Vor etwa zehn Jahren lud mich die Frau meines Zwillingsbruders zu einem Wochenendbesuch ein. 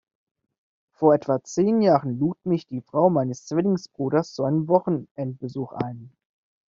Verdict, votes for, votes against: accepted, 2, 0